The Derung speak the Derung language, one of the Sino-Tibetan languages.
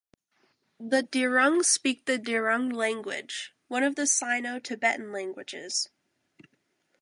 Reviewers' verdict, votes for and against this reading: accepted, 2, 0